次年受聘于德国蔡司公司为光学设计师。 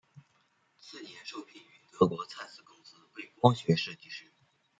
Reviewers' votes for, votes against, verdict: 2, 1, accepted